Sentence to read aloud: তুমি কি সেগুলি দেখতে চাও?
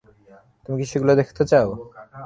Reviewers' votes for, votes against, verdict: 0, 3, rejected